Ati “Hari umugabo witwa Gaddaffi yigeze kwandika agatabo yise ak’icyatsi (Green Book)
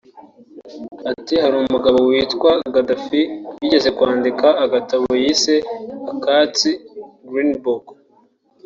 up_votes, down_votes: 1, 2